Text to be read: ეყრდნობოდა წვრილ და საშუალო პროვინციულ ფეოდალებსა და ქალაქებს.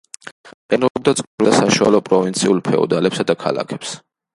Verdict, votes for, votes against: rejected, 0, 2